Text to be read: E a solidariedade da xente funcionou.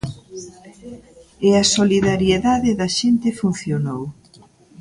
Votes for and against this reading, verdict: 1, 2, rejected